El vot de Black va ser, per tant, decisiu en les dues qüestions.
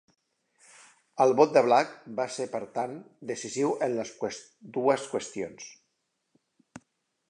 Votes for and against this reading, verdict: 1, 2, rejected